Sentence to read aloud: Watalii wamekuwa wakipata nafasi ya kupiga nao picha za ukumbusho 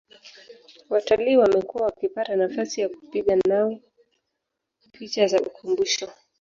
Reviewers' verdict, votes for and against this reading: rejected, 0, 2